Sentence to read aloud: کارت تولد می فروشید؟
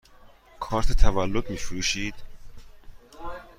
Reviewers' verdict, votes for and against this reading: accepted, 2, 0